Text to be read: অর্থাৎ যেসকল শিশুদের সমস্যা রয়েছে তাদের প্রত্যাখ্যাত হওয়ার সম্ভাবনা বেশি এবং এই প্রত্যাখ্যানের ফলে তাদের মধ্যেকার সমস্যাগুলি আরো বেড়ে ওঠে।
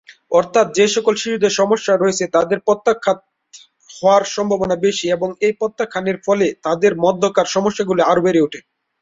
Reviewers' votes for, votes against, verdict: 7, 7, rejected